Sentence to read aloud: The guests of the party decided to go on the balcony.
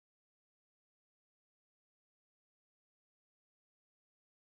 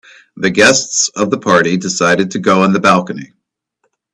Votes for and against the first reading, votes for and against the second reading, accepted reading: 0, 2, 2, 0, second